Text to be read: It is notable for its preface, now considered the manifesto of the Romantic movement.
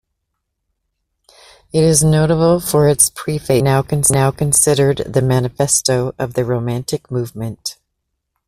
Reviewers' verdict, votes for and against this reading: rejected, 1, 2